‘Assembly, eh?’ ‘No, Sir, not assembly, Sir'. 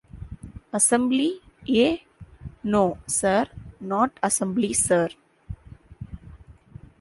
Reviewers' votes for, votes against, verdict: 2, 0, accepted